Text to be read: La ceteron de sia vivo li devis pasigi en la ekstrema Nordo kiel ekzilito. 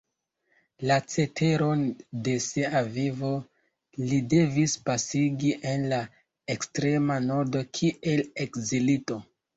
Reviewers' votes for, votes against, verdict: 2, 0, accepted